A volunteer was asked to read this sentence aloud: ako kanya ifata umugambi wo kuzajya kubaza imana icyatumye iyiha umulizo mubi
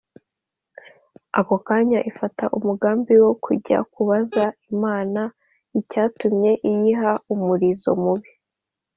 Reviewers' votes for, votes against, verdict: 2, 0, accepted